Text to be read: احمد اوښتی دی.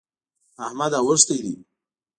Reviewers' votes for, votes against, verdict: 2, 0, accepted